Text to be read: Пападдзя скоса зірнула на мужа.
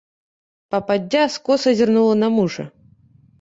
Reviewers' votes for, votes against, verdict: 2, 0, accepted